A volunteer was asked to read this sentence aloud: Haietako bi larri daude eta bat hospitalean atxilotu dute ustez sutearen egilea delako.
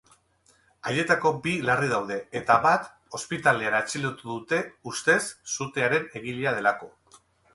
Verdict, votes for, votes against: rejected, 0, 2